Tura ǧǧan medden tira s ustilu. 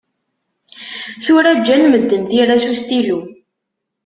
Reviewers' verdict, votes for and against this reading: accepted, 2, 0